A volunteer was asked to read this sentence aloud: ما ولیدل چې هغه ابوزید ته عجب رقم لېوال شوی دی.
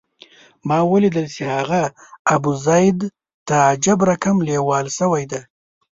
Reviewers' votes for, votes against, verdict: 1, 2, rejected